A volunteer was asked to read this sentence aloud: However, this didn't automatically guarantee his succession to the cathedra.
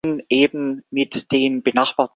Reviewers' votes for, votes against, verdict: 0, 2, rejected